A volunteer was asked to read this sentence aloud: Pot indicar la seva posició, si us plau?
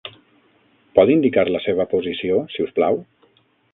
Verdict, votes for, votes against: accepted, 6, 0